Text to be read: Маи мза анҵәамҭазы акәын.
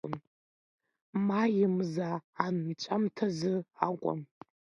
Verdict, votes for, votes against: accepted, 2, 0